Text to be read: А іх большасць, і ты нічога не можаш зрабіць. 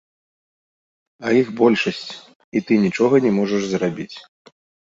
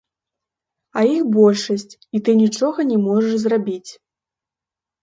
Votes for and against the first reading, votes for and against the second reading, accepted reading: 2, 0, 0, 2, first